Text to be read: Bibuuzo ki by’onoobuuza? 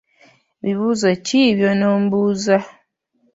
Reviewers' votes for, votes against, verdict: 1, 2, rejected